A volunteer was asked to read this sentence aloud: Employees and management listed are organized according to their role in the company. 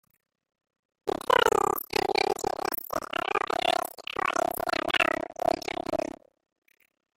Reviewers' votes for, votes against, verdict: 1, 2, rejected